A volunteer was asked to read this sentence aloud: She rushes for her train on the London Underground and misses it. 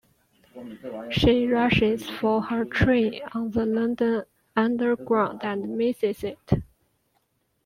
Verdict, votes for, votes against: rejected, 0, 2